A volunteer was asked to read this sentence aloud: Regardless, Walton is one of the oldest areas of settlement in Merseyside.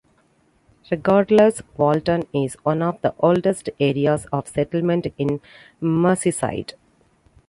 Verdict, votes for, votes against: accepted, 2, 0